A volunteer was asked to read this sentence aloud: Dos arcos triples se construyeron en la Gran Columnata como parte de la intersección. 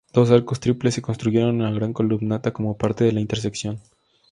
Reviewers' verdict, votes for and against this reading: accepted, 2, 0